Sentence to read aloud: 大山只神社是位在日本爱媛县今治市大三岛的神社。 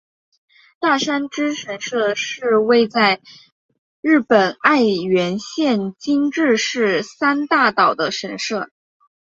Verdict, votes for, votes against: rejected, 0, 3